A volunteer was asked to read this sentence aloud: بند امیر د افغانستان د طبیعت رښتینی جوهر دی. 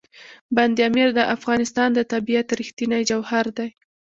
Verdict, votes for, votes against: accepted, 2, 1